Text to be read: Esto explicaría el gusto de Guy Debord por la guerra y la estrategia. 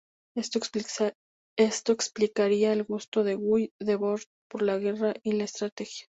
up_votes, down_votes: 0, 2